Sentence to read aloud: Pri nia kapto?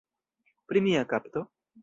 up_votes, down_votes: 2, 0